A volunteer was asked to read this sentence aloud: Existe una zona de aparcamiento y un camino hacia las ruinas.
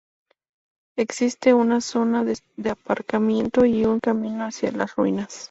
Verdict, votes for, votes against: rejected, 0, 2